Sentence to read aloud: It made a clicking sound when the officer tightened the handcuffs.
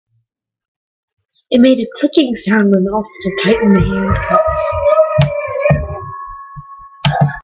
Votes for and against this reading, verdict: 0, 2, rejected